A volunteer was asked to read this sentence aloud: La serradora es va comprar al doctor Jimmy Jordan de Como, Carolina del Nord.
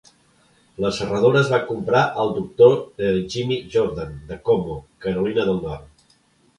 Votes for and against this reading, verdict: 0, 2, rejected